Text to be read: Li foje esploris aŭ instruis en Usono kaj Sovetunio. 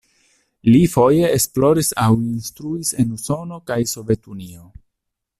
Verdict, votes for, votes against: accepted, 2, 1